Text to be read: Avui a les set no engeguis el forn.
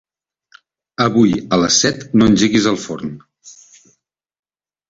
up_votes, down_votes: 2, 0